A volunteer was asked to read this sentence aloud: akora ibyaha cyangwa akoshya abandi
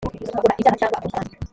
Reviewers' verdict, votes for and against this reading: rejected, 0, 2